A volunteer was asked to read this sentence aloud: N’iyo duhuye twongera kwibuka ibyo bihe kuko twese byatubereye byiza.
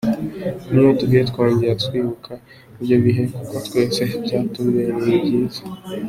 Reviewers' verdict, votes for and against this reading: accepted, 2, 1